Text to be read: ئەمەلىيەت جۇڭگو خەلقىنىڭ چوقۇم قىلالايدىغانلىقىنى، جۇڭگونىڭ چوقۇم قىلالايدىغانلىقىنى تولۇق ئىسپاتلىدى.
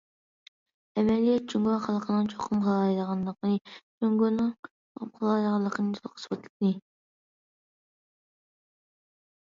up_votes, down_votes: 1, 2